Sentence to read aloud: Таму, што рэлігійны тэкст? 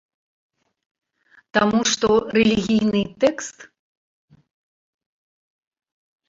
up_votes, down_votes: 1, 2